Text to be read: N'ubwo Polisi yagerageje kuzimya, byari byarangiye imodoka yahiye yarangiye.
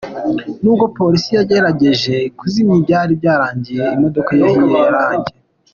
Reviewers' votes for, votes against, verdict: 2, 0, accepted